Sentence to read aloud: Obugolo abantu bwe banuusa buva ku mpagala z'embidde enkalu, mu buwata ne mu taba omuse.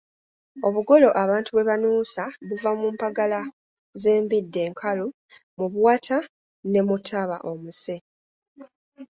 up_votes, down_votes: 1, 2